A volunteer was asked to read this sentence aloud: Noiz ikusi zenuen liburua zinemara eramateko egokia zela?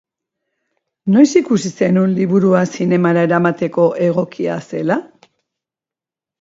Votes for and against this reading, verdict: 1, 2, rejected